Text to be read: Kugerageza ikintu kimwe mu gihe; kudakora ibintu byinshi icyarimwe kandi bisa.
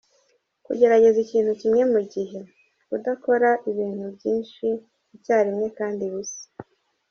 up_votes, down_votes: 2, 0